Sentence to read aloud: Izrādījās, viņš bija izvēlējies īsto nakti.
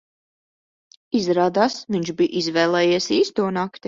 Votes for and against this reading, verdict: 0, 2, rejected